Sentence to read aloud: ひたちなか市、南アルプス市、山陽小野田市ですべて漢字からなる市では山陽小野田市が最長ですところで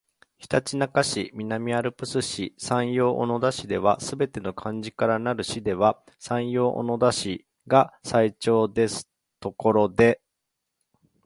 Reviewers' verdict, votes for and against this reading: accepted, 3, 1